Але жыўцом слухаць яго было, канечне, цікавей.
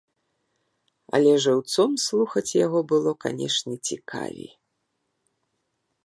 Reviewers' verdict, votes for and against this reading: rejected, 1, 2